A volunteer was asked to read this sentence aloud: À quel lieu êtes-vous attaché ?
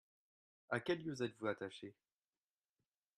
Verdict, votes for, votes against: accepted, 2, 1